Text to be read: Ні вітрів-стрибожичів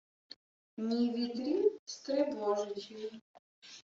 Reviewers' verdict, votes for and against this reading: rejected, 1, 2